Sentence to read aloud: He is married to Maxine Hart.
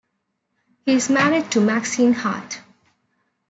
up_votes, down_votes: 2, 0